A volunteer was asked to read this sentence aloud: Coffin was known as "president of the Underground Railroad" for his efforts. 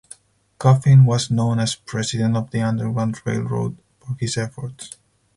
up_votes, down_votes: 4, 0